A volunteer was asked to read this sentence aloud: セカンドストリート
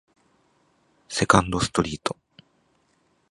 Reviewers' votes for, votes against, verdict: 1, 2, rejected